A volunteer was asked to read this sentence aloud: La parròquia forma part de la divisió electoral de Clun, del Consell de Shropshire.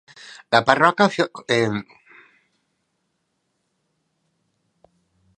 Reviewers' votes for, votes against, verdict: 1, 2, rejected